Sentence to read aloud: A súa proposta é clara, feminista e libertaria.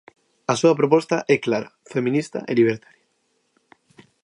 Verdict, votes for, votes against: rejected, 0, 2